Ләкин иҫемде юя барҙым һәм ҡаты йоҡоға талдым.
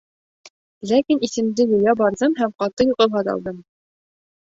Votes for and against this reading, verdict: 1, 2, rejected